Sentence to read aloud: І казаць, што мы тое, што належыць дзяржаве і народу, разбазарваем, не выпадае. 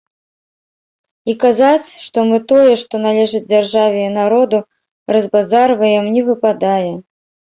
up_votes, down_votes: 1, 2